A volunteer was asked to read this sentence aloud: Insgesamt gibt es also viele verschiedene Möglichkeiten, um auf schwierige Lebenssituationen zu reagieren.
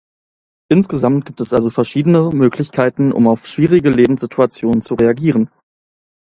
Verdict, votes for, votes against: rejected, 0, 2